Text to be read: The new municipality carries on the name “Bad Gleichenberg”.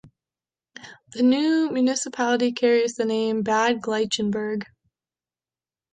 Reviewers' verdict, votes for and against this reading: rejected, 0, 2